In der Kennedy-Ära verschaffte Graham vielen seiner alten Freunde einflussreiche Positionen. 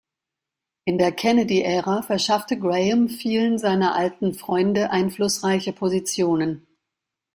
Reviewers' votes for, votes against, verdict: 2, 0, accepted